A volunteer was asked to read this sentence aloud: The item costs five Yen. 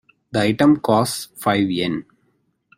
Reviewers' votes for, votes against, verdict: 2, 0, accepted